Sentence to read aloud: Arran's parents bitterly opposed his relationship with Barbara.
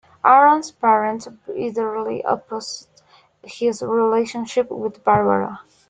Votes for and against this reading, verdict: 0, 2, rejected